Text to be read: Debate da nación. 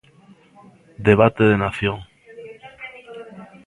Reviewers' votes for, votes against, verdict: 0, 2, rejected